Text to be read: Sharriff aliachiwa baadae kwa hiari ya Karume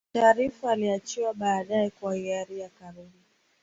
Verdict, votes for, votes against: accepted, 7, 5